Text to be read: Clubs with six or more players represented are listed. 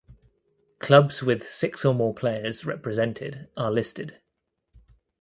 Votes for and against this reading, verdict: 2, 0, accepted